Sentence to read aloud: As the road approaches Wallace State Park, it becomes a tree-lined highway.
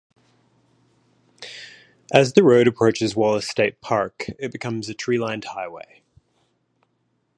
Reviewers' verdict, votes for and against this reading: rejected, 0, 3